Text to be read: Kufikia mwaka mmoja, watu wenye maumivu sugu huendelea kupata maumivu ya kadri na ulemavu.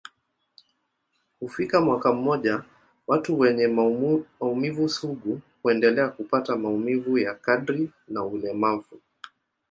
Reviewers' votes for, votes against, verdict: 2, 1, accepted